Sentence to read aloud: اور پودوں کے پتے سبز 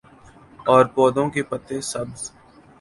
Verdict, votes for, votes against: accepted, 2, 0